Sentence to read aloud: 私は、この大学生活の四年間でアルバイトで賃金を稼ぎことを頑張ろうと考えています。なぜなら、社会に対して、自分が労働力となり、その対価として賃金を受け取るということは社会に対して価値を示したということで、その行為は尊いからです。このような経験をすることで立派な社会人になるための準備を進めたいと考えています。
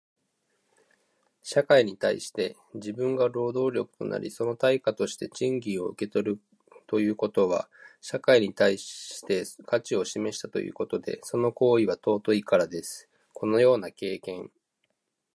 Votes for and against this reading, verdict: 0, 2, rejected